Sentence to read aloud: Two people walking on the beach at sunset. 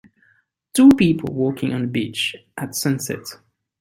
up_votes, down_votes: 3, 1